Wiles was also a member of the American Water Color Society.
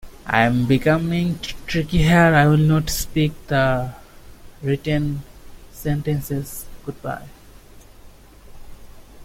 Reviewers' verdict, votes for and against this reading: rejected, 0, 2